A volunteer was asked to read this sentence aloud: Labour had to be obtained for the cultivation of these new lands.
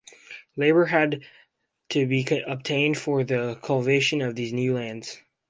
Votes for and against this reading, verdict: 0, 2, rejected